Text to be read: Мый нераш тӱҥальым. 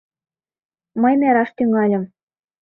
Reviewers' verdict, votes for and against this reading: accepted, 2, 0